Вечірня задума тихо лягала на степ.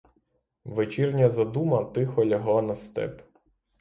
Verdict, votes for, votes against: rejected, 3, 3